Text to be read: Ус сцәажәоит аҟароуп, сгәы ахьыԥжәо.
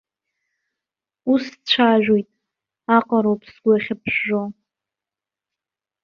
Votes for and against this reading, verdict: 1, 2, rejected